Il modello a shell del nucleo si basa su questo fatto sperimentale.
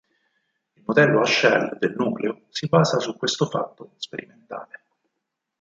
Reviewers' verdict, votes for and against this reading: rejected, 2, 4